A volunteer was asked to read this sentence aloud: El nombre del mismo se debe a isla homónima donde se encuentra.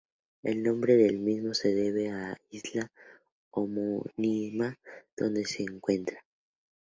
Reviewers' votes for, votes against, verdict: 4, 0, accepted